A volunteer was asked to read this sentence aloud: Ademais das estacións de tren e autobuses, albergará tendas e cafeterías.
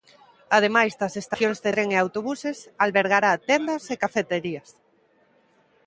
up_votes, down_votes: 1, 2